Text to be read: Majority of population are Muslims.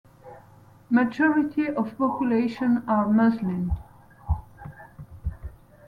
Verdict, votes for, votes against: accepted, 2, 0